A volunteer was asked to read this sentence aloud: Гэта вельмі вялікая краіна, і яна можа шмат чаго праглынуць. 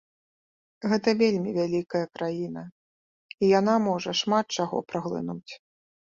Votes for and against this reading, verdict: 2, 0, accepted